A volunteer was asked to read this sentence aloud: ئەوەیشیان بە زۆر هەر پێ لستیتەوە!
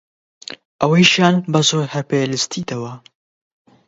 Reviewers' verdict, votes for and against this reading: accepted, 20, 0